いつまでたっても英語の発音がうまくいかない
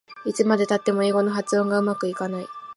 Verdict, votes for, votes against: accepted, 3, 0